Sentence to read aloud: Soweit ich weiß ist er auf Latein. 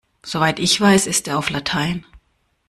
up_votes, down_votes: 2, 0